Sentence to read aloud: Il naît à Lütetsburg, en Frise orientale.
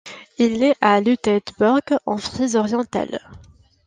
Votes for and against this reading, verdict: 2, 0, accepted